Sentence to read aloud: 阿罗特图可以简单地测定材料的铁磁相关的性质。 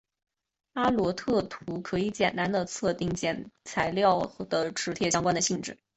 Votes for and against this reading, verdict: 3, 0, accepted